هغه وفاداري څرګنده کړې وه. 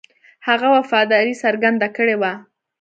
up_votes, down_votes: 2, 1